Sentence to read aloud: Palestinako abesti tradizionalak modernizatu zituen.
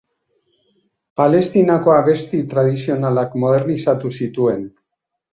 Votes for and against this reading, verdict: 2, 0, accepted